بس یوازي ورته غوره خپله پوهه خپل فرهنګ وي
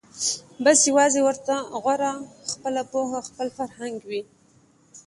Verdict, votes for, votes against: accepted, 2, 0